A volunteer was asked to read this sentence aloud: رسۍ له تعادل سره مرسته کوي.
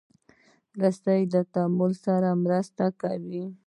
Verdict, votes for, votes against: accepted, 2, 0